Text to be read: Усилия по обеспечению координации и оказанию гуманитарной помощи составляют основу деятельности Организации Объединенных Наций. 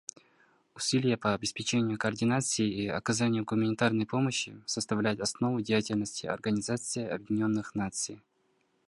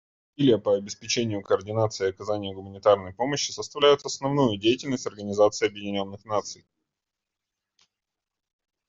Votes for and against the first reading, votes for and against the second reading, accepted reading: 2, 0, 1, 2, first